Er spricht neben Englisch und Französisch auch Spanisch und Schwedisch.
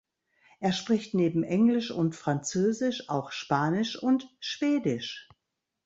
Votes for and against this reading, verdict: 3, 0, accepted